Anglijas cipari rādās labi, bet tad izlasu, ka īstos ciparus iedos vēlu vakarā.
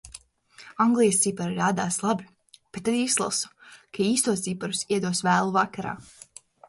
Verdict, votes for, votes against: rejected, 0, 2